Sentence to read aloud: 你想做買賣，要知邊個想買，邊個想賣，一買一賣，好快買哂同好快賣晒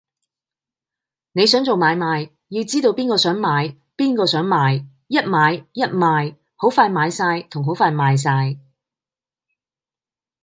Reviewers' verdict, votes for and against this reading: accepted, 2, 1